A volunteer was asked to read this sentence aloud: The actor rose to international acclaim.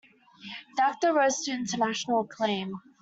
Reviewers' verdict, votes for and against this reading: accepted, 2, 0